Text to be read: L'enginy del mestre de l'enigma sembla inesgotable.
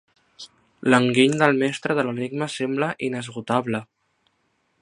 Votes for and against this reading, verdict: 0, 2, rejected